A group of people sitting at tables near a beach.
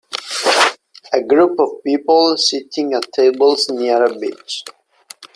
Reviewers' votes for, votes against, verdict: 2, 0, accepted